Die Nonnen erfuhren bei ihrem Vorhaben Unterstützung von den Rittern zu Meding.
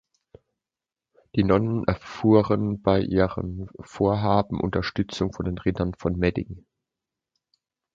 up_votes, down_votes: 0, 2